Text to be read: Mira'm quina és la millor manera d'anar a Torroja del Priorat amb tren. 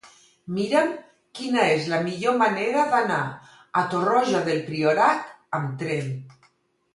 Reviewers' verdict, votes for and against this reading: accepted, 4, 0